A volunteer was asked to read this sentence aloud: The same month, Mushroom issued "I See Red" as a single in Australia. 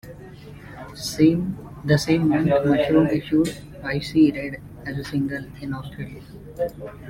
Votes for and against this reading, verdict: 0, 2, rejected